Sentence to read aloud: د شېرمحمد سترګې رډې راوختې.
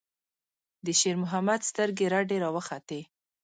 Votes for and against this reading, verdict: 0, 2, rejected